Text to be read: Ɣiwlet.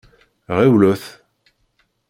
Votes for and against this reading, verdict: 2, 0, accepted